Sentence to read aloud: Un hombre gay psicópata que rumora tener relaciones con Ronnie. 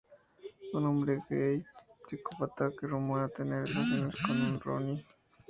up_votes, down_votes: 0, 2